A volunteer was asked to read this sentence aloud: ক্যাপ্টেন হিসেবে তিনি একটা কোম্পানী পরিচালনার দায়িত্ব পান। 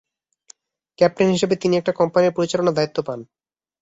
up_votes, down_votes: 3, 0